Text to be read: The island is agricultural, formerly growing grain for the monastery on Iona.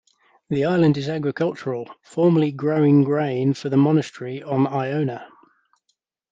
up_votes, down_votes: 1, 2